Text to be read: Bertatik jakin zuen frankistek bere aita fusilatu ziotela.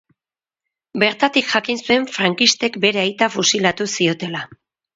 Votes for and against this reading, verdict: 8, 0, accepted